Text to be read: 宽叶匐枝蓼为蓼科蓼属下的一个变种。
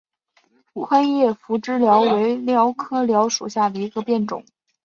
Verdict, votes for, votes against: accepted, 3, 0